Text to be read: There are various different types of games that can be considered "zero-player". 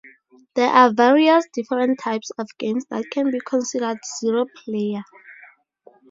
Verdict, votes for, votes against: accepted, 2, 0